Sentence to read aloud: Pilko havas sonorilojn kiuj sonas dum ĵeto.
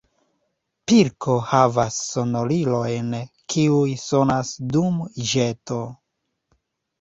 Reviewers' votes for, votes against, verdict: 1, 2, rejected